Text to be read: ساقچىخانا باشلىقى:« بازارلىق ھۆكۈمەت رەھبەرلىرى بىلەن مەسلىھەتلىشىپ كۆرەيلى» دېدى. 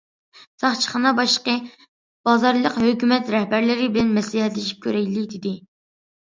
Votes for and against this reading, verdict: 2, 1, accepted